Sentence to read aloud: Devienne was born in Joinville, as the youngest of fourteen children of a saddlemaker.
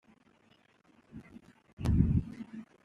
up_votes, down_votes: 0, 2